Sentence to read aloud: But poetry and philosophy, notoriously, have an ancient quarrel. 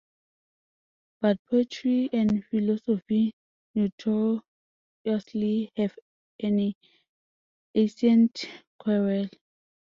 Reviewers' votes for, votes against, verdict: 0, 2, rejected